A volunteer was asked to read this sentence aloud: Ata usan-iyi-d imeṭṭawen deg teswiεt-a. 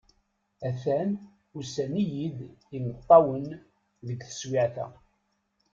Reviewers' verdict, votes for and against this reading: rejected, 0, 2